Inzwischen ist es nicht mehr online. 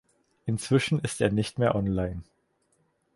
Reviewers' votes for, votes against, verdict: 0, 4, rejected